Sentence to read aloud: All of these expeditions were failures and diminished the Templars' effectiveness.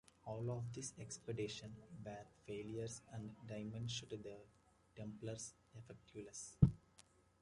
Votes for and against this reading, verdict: 1, 2, rejected